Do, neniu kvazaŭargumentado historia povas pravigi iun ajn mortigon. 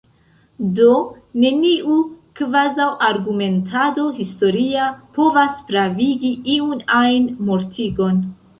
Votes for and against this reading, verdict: 1, 2, rejected